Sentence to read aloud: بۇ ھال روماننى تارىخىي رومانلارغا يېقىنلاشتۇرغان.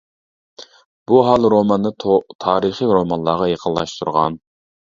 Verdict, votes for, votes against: rejected, 1, 2